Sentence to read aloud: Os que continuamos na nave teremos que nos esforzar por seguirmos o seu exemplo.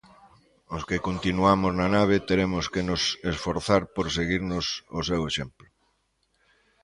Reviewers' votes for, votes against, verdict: 1, 2, rejected